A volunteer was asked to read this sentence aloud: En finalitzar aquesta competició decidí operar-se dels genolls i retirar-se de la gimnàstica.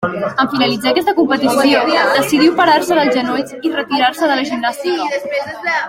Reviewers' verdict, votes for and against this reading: rejected, 1, 2